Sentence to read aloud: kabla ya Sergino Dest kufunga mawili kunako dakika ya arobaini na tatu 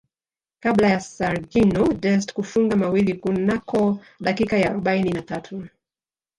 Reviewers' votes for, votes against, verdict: 0, 2, rejected